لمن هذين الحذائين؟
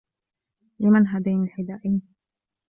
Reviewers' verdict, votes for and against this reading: rejected, 1, 2